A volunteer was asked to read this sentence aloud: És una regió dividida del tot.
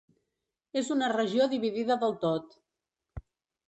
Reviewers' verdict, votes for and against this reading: accepted, 3, 0